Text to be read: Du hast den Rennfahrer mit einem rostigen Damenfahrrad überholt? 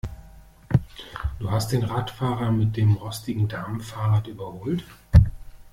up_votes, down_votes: 1, 2